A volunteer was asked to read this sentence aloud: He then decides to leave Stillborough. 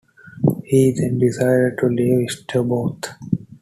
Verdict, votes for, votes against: accepted, 2, 0